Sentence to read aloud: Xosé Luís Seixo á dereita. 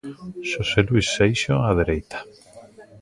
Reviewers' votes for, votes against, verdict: 1, 2, rejected